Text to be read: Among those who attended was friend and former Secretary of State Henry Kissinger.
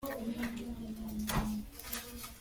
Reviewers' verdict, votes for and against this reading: rejected, 0, 2